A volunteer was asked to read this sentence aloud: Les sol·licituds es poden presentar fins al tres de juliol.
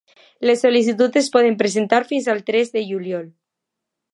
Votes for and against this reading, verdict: 2, 0, accepted